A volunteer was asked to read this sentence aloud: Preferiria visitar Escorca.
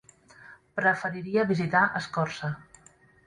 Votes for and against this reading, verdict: 0, 2, rejected